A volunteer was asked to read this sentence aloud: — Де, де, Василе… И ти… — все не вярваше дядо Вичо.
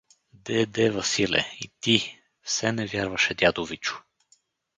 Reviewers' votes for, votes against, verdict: 4, 0, accepted